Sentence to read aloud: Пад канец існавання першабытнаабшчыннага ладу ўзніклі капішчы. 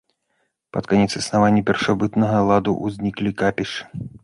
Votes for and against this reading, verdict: 1, 2, rejected